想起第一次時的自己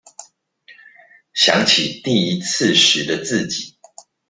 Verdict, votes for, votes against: accepted, 2, 0